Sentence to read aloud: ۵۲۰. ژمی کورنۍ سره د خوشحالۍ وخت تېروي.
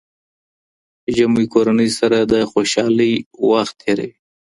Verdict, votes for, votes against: rejected, 0, 2